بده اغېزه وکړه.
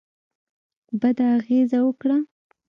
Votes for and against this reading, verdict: 3, 0, accepted